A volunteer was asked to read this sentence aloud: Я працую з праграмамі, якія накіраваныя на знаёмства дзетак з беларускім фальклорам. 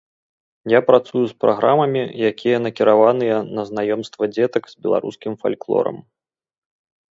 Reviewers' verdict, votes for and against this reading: accepted, 3, 0